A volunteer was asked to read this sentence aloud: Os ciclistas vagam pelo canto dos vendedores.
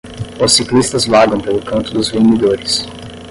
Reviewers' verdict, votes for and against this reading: accepted, 10, 0